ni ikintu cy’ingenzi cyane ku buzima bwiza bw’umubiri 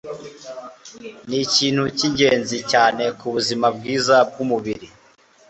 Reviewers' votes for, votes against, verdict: 2, 0, accepted